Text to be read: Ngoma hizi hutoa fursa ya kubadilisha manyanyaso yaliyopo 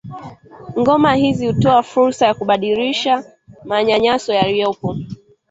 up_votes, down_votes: 2, 0